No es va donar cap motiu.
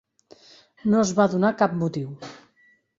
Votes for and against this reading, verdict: 3, 0, accepted